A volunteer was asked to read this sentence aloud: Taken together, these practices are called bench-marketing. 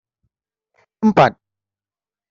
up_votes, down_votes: 0, 2